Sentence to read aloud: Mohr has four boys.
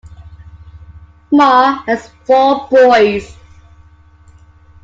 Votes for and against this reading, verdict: 2, 0, accepted